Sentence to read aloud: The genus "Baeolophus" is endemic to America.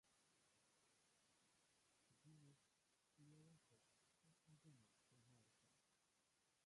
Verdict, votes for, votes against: rejected, 0, 2